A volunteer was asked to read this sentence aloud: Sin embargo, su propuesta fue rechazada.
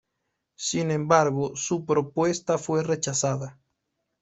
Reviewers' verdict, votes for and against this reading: accepted, 2, 0